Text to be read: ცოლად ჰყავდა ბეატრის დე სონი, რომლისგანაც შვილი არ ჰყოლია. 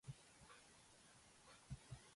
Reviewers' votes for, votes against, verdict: 0, 2, rejected